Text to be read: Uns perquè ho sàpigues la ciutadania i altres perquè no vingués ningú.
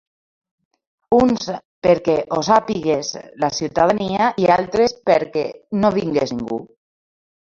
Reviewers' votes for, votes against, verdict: 2, 0, accepted